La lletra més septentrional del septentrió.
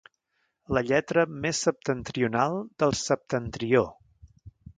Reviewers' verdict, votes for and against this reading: accepted, 2, 0